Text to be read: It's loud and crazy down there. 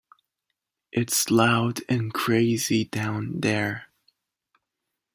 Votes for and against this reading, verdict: 2, 0, accepted